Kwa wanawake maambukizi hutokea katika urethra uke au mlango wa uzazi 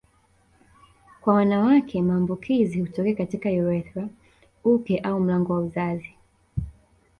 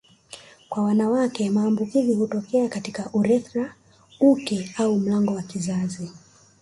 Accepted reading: second